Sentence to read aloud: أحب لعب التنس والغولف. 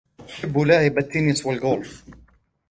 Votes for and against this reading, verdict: 2, 0, accepted